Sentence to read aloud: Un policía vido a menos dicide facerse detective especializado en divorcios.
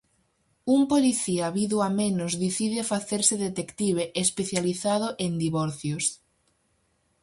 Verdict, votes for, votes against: accepted, 4, 0